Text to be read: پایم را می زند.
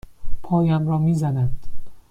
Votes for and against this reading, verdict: 2, 0, accepted